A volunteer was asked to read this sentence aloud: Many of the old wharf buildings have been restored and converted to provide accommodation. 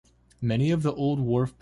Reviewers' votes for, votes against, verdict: 0, 2, rejected